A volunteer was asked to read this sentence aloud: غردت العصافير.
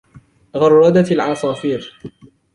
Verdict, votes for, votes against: rejected, 1, 2